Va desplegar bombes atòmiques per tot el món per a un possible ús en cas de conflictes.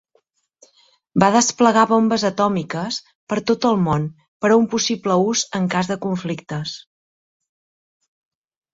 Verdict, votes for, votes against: accepted, 2, 0